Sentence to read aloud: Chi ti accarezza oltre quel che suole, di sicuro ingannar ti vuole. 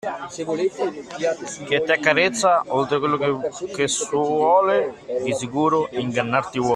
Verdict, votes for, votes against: rejected, 0, 2